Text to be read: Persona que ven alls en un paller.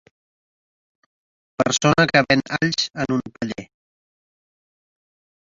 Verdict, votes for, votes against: rejected, 1, 2